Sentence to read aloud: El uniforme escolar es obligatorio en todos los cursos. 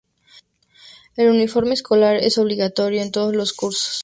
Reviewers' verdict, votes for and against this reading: accepted, 2, 0